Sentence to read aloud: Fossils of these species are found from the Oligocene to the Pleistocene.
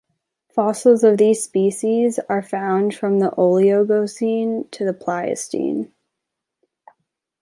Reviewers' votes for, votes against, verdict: 0, 3, rejected